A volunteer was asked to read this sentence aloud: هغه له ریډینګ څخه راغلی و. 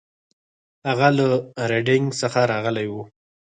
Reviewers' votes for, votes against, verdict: 4, 2, accepted